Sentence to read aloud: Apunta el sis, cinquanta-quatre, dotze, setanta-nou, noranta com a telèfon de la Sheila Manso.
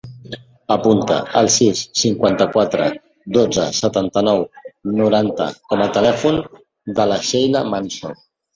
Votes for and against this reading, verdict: 1, 2, rejected